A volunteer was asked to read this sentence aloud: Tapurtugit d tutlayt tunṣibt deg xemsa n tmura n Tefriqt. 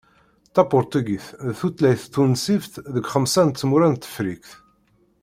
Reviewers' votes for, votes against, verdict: 2, 0, accepted